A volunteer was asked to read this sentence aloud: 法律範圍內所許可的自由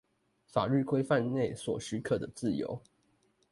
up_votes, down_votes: 0, 2